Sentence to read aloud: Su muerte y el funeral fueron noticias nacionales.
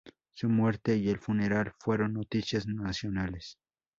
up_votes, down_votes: 2, 0